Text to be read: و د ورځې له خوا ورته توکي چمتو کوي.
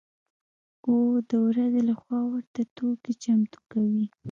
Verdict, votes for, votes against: accepted, 2, 0